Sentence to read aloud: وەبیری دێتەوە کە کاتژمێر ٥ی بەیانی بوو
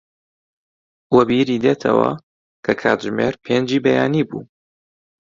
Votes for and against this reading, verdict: 0, 2, rejected